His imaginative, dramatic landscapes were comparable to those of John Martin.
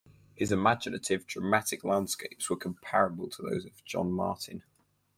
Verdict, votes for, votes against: rejected, 2, 4